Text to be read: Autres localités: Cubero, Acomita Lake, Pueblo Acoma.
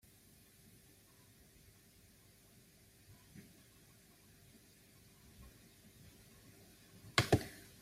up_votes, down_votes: 0, 2